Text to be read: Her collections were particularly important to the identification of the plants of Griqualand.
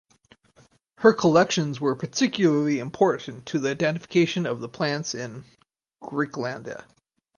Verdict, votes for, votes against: rejected, 2, 2